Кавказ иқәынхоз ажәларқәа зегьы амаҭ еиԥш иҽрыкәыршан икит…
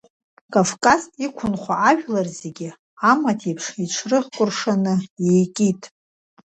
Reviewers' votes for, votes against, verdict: 0, 2, rejected